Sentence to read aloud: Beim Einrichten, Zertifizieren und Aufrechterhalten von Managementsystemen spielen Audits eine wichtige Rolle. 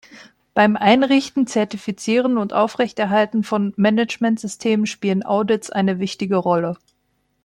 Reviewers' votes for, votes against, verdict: 2, 0, accepted